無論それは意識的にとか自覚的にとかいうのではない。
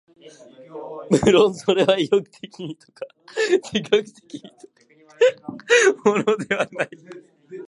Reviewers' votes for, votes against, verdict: 1, 4, rejected